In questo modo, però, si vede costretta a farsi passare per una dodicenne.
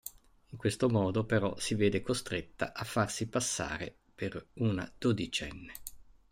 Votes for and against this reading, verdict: 0, 2, rejected